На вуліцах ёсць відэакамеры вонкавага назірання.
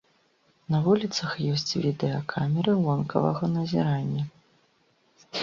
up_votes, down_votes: 2, 0